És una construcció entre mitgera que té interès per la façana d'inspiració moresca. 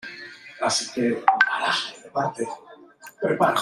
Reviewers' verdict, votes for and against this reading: rejected, 0, 2